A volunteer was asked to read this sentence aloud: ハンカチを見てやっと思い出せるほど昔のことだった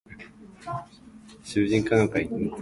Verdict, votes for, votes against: rejected, 0, 2